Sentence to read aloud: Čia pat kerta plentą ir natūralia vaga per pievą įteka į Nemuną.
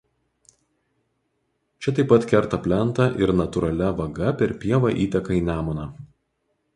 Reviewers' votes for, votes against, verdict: 2, 2, rejected